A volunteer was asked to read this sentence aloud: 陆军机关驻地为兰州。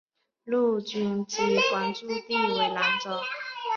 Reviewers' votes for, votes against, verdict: 3, 1, accepted